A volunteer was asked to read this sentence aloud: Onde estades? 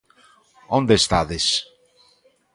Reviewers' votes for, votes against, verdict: 2, 0, accepted